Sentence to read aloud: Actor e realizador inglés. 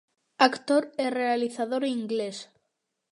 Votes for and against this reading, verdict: 2, 0, accepted